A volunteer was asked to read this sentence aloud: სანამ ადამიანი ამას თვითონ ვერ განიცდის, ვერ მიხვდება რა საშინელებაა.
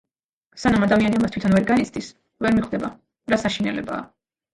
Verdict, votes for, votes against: accepted, 2, 0